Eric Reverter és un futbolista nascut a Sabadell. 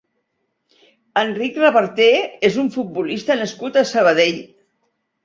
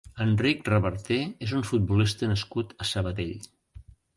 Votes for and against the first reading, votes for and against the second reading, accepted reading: 2, 0, 0, 3, first